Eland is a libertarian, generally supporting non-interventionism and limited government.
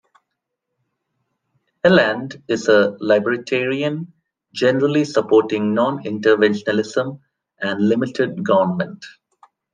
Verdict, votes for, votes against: rejected, 1, 2